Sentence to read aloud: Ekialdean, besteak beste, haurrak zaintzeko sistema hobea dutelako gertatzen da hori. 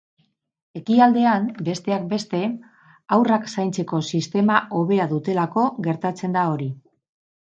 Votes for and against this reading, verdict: 0, 2, rejected